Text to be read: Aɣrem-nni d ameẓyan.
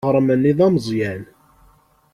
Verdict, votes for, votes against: rejected, 1, 2